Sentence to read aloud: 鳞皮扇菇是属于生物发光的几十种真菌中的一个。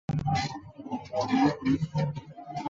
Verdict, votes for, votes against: rejected, 1, 2